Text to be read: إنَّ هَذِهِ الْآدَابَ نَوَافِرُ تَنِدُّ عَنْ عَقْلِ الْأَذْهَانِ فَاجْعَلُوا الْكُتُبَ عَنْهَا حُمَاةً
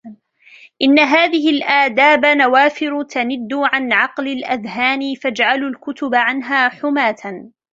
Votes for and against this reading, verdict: 2, 1, accepted